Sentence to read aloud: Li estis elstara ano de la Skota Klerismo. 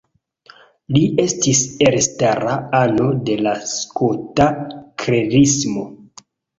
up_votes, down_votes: 1, 2